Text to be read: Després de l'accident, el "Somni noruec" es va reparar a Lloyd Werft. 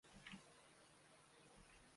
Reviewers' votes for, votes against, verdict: 0, 2, rejected